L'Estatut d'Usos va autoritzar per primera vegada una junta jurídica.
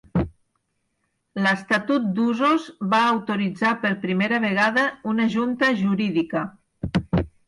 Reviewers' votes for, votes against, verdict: 6, 0, accepted